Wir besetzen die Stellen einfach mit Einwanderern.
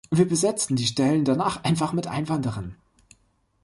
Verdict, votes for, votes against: rejected, 1, 3